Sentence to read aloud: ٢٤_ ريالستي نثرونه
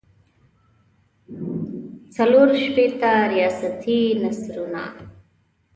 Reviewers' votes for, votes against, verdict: 0, 2, rejected